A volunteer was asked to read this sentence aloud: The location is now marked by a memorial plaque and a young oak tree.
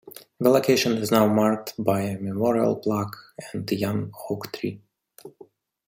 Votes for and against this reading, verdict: 1, 2, rejected